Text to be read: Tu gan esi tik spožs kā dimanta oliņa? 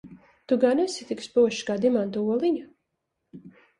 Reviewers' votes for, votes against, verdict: 2, 0, accepted